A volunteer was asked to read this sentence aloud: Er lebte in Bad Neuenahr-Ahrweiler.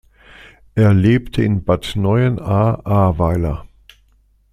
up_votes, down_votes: 2, 0